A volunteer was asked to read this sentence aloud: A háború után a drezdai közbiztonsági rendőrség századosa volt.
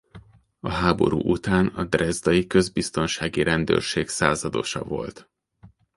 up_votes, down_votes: 2, 0